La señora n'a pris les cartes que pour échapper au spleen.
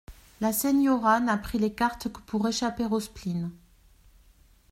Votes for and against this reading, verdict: 2, 0, accepted